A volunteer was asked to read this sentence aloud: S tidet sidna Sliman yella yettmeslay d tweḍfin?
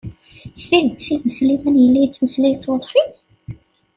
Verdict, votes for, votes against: accepted, 2, 0